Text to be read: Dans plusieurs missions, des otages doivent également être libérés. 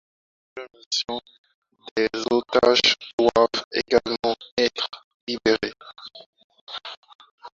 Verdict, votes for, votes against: rejected, 0, 4